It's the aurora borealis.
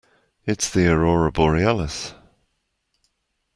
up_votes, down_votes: 2, 0